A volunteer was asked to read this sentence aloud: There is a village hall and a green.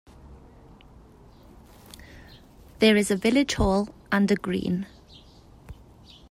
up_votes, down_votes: 2, 0